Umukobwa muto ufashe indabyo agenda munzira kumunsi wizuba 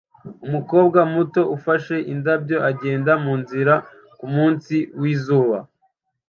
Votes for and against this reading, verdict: 0, 2, rejected